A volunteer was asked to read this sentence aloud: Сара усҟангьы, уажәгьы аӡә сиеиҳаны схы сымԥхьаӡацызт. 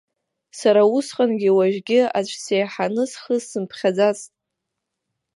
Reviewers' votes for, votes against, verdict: 1, 2, rejected